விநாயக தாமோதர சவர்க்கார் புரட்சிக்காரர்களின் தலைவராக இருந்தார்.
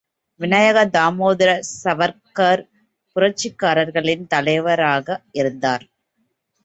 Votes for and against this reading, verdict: 2, 0, accepted